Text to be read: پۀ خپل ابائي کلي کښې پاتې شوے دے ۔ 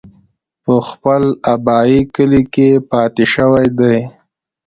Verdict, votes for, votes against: accepted, 2, 0